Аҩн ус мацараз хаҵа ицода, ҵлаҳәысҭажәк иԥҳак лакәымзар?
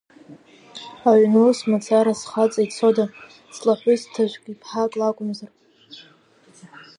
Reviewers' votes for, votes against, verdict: 5, 0, accepted